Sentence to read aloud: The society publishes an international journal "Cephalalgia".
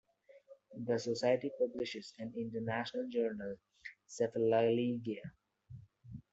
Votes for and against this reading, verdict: 0, 2, rejected